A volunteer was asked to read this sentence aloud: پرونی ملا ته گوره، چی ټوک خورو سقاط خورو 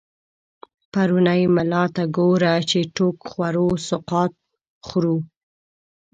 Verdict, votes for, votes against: rejected, 1, 2